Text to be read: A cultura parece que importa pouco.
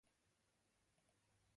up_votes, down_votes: 0, 2